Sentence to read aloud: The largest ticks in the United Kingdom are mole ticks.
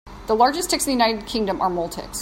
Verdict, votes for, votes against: accepted, 3, 0